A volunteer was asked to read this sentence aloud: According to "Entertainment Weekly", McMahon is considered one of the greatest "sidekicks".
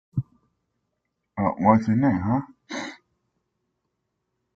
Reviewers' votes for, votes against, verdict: 0, 2, rejected